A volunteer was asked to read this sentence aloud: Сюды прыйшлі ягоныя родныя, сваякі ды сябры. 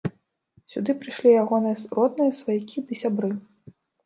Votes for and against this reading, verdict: 1, 2, rejected